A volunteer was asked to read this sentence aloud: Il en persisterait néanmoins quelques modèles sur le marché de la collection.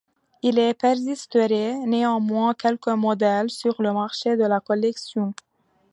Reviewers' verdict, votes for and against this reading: rejected, 1, 2